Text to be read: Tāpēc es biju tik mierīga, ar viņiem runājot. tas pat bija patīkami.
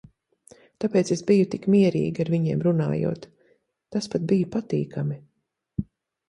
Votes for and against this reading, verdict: 2, 0, accepted